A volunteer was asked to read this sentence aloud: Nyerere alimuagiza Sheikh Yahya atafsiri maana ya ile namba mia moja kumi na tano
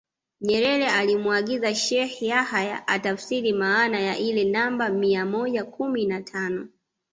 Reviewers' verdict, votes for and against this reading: accepted, 2, 0